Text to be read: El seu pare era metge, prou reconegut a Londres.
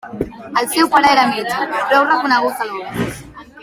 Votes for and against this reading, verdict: 0, 2, rejected